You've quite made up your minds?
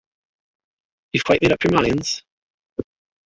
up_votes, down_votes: 1, 2